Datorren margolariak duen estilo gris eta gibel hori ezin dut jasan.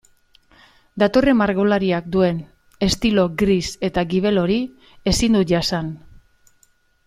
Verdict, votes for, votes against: accepted, 2, 1